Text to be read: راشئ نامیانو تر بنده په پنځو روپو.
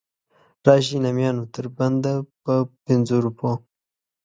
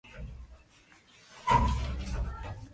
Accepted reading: first